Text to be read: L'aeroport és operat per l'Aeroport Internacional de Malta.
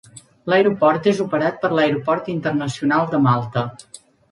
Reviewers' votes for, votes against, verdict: 3, 0, accepted